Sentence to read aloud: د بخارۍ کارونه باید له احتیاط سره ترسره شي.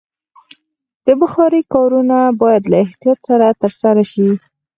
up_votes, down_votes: 4, 0